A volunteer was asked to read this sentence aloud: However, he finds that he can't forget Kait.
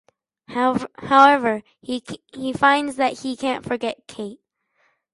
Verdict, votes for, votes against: rejected, 0, 2